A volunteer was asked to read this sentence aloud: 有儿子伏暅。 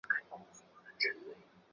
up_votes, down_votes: 1, 2